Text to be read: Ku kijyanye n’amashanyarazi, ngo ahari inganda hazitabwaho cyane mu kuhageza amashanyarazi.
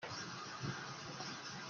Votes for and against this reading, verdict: 0, 2, rejected